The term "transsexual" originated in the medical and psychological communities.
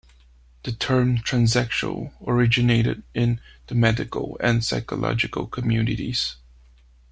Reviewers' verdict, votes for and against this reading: accepted, 2, 0